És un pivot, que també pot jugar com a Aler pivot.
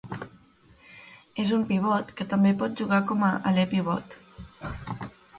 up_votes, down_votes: 2, 0